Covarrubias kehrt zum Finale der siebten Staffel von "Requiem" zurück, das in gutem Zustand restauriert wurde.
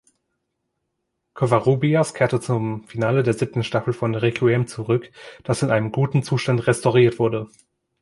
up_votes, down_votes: 1, 3